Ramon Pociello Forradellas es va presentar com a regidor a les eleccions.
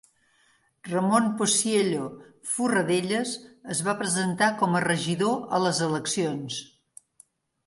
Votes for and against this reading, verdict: 2, 0, accepted